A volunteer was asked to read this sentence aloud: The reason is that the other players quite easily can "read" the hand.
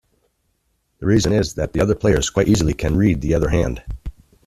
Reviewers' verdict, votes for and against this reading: rejected, 1, 2